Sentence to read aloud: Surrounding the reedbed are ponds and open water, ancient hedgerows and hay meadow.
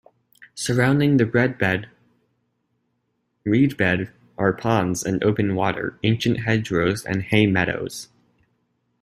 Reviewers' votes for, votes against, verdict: 0, 2, rejected